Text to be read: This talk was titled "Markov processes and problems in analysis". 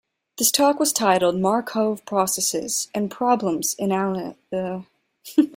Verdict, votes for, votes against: rejected, 0, 2